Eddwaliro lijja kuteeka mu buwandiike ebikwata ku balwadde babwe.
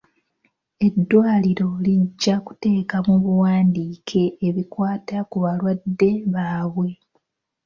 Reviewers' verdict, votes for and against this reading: accepted, 2, 0